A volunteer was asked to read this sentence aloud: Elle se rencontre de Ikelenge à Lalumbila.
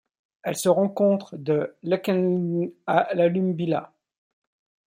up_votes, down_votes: 0, 2